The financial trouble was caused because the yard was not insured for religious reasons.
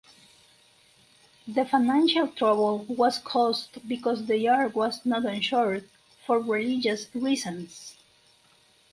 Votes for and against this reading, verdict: 4, 0, accepted